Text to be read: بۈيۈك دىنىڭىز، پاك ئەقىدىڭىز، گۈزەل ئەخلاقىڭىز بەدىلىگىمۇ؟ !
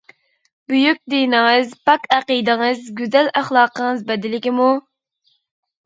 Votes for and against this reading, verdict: 2, 0, accepted